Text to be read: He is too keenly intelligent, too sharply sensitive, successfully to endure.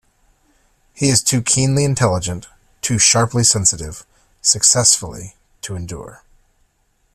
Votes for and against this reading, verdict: 2, 0, accepted